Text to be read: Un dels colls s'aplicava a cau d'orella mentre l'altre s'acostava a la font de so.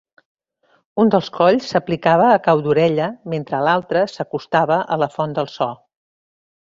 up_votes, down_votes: 2, 0